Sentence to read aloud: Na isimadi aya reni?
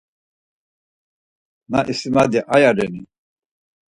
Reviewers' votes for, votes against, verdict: 4, 0, accepted